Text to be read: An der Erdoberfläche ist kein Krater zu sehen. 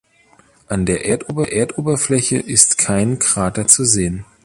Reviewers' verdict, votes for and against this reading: rejected, 0, 2